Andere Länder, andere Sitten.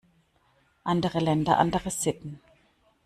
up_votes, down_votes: 2, 0